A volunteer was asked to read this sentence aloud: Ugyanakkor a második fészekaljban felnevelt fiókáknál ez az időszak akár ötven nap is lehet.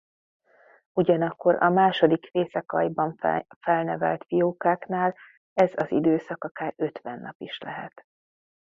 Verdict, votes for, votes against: rejected, 0, 2